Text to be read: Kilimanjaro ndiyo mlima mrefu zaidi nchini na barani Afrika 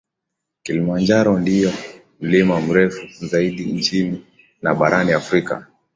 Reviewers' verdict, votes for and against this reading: accepted, 2, 0